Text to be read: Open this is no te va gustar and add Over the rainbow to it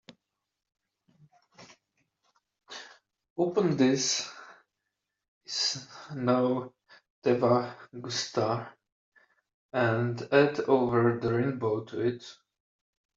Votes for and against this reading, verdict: 2, 0, accepted